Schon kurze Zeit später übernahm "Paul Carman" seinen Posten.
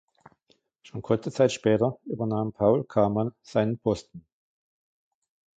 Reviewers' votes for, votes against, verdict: 2, 0, accepted